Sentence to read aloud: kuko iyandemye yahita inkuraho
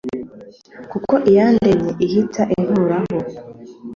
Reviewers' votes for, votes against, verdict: 1, 2, rejected